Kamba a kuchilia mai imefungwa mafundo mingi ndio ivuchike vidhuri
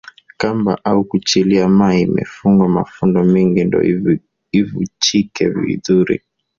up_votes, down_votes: 1, 2